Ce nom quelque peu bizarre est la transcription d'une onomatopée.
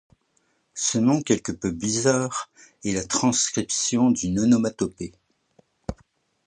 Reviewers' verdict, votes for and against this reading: accepted, 2, 0